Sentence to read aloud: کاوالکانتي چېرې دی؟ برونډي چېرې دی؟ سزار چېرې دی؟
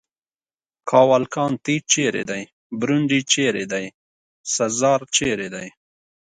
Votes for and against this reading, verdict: 2, 0, accepted